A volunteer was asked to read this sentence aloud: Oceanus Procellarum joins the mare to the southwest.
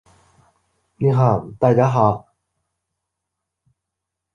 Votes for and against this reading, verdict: 0, 2, rejected